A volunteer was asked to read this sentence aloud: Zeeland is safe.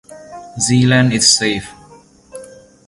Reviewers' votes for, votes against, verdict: 2, 0, accepted